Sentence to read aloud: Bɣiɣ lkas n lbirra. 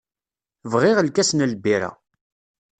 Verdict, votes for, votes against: accepted, 2, 0